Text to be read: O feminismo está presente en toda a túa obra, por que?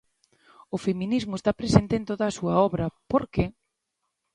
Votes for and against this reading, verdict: 1, 2, rejected